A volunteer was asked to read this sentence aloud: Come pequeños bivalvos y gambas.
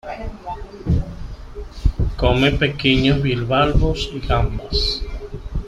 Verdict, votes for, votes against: rejected, 1, 3